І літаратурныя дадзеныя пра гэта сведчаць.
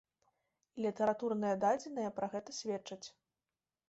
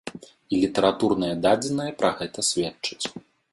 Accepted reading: second